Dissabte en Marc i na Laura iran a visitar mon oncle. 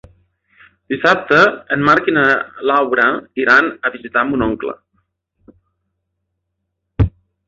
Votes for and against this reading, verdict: 2, 0, accepted